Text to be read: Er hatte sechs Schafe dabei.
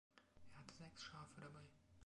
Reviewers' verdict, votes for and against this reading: accepted, 2, 0